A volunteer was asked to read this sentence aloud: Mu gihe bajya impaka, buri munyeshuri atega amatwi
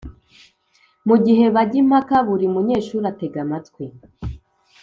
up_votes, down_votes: 2, 0